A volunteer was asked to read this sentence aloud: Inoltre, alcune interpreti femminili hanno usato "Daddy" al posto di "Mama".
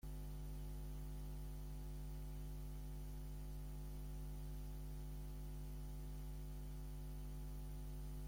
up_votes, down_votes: 1, 2